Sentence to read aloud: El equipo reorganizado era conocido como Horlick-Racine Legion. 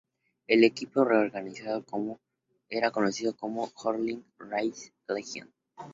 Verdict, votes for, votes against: accepted, 2, 0